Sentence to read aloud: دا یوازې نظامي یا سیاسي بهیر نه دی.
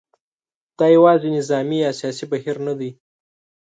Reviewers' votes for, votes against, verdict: 5, 0, accepted